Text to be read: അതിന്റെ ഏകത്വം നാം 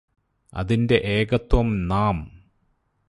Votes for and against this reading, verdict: 2, 2, rejected